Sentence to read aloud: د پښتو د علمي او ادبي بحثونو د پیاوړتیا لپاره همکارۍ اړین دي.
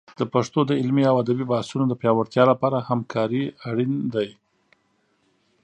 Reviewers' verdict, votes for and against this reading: rejected, 1, 2